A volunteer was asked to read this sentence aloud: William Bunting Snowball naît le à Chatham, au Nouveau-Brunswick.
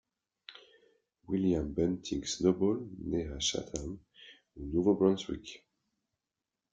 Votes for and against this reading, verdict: 0, 2, rejected